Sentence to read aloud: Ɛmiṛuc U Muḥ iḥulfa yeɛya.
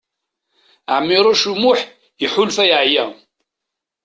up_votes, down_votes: 3, 0